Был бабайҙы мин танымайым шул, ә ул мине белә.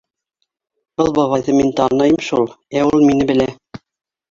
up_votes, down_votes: 1, 2